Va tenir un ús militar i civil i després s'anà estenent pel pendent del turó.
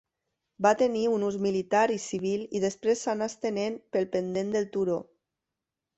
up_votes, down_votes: 2, 0